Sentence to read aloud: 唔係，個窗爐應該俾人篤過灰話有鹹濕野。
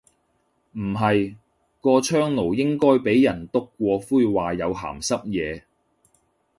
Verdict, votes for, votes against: accepted, 2, 0